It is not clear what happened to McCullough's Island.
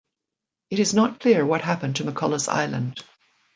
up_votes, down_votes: 2, 1